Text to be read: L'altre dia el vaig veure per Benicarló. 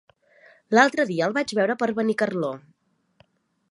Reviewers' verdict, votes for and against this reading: accepted, 3, 0